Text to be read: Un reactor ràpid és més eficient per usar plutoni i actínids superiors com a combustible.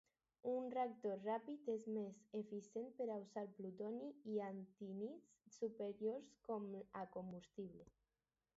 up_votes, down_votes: 2, 2